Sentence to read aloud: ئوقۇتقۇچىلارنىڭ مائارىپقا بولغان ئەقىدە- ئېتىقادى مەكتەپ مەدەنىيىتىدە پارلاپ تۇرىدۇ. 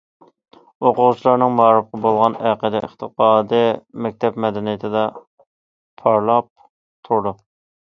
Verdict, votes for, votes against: rejected, 0, 2